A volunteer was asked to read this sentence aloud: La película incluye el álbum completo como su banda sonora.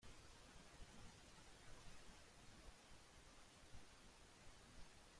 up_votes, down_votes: 0, 2